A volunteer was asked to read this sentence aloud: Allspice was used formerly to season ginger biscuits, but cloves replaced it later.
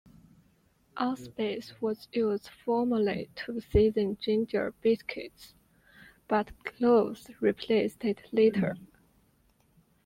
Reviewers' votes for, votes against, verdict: 2, 0, accepted